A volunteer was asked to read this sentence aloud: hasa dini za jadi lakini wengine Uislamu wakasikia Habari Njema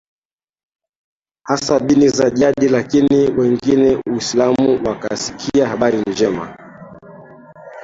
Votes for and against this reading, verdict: 0, 2, rejected